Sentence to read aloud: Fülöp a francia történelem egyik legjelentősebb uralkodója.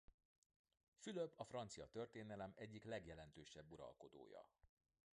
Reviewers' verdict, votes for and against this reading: rejected, 1, 3